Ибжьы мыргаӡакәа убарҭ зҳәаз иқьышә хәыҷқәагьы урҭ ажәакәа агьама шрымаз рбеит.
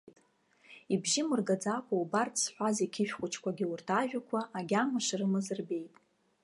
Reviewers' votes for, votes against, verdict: 2, 0, accepted